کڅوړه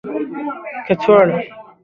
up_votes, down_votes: 2, 0